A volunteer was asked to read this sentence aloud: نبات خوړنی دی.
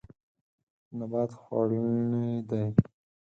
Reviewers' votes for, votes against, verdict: 2, 4, rejected